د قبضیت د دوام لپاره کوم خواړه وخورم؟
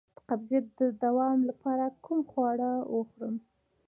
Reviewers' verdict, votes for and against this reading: rejected, 0, 2